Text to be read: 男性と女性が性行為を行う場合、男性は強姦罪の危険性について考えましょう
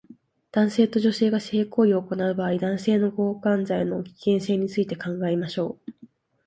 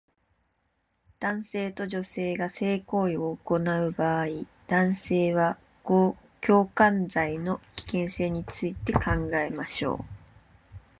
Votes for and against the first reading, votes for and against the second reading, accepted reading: 2, 1, 1, 3, first